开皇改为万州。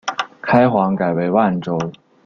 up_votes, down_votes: 2, 0